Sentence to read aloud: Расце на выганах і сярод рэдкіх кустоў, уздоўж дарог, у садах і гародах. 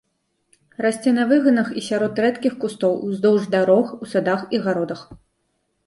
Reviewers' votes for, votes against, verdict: 2, 0, accepted